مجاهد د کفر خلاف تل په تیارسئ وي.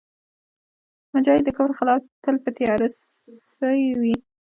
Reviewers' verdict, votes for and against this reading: accepted, 2, 1